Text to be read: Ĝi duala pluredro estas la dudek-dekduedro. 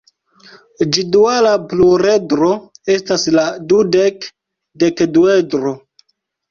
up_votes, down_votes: 2, 0